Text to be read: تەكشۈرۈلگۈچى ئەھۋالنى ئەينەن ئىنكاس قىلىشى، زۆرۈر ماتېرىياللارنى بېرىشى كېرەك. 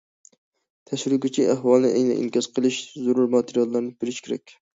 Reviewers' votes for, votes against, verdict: 0, 2, rejected